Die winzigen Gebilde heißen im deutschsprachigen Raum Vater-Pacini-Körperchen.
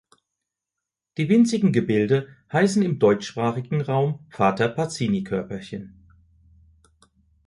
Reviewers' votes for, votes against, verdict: 2, 0, accepted